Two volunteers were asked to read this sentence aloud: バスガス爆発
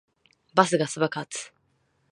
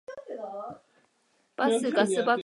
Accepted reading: first